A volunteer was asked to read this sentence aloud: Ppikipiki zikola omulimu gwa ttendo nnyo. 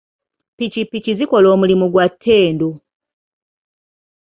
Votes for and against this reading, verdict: 0, 2, rejected